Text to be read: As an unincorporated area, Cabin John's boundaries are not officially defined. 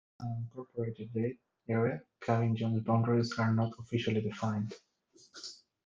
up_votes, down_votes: 1, 2